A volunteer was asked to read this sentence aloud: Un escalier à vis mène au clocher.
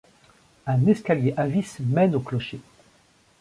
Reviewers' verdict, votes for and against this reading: accepted, 2, 0